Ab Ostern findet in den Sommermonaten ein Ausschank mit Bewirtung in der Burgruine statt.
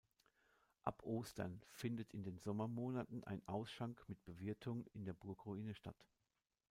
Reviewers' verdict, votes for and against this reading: accepted, 2, 1